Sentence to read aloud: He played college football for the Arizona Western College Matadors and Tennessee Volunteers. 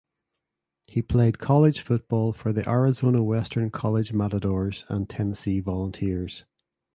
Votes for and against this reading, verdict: 2, 0, accepted